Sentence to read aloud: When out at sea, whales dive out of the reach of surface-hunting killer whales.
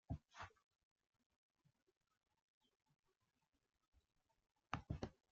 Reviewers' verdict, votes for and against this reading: rejected, 0, 2